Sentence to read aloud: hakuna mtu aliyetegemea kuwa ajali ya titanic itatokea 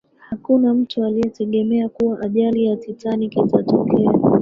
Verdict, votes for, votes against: rejected, 1, 2